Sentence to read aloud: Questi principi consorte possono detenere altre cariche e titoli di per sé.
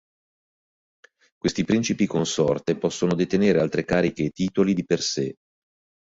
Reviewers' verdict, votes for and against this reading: accepted, 2, 0